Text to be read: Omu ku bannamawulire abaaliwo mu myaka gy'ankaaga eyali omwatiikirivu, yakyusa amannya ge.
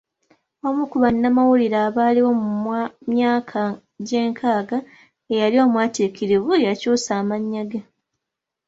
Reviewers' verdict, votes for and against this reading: rejected, 0, 2